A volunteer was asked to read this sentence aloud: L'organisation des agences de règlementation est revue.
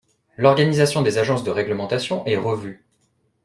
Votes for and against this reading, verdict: 2, 0, accepted